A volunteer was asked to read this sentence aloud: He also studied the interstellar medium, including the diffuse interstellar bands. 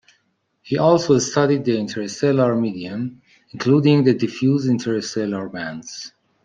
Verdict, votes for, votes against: accepted, 2, 1